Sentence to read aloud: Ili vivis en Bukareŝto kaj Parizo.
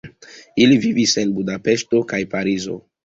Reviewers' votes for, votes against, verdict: 2, 0, accepted